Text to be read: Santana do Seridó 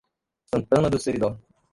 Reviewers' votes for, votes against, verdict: 1, 2, rejected